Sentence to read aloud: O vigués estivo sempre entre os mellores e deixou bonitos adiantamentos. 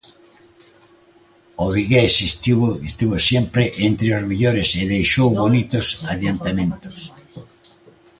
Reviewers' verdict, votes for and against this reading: rejected, 0, 2